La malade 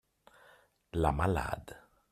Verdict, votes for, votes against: accepted, 2, 0